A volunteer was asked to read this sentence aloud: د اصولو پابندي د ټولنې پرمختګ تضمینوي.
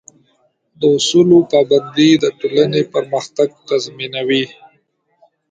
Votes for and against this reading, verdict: 2, 1, accepted